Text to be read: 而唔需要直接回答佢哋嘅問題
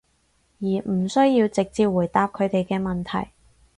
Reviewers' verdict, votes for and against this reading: accepted, 4, 0